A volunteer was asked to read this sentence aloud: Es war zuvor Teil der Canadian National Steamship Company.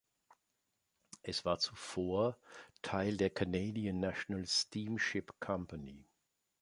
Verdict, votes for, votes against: accepted, 3, 0